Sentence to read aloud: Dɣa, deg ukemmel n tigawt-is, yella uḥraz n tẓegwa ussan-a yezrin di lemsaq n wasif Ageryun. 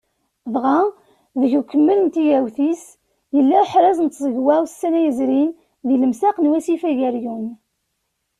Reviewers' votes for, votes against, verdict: 2, 0, accepted